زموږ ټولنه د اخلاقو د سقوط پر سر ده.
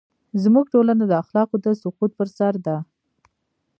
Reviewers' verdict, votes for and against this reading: accepted, 2, 1